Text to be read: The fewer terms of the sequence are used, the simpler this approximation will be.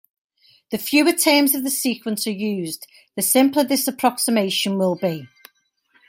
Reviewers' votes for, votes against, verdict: 2, 0, accepted